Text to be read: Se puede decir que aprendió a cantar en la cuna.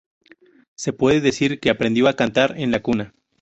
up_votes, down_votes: 0, 2